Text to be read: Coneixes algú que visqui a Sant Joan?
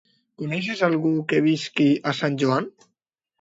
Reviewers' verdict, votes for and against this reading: accepted, 2, 0